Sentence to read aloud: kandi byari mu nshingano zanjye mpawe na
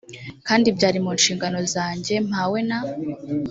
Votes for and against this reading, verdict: 2, 0, accepted